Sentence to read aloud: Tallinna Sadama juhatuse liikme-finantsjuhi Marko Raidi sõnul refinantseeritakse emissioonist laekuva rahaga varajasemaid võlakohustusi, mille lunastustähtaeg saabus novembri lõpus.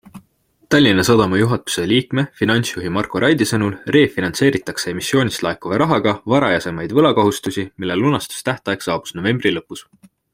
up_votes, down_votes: 2, 0